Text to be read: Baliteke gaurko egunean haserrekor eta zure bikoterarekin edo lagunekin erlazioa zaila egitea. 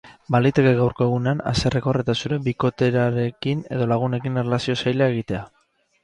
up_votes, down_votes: 6, 0